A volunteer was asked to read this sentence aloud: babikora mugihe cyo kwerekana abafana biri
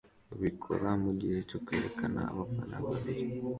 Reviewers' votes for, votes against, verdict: 2, 1, accepted